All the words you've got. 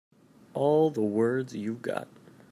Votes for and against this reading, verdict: 2, 0, accepted